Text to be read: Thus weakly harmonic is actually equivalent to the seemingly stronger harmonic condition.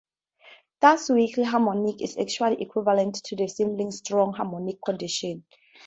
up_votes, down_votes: 2, 2